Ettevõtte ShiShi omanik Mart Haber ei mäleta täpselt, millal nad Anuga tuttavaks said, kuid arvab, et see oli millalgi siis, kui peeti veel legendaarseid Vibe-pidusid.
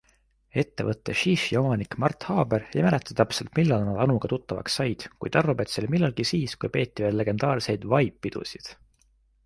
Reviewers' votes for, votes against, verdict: 2, 0, accepted